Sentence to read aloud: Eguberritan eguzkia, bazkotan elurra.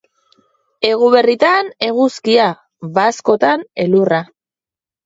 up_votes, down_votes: 2, 0